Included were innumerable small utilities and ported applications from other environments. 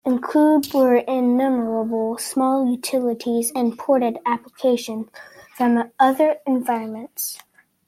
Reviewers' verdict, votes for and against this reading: accepted, 2, 1